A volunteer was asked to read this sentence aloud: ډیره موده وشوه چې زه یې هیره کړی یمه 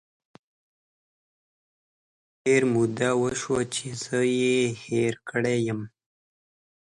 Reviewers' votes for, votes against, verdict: 2, 1, accepted